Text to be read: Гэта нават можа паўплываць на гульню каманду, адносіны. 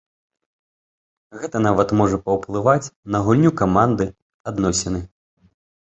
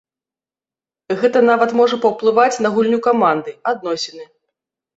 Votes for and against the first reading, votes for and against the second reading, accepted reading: 2, 0, 1, 2, first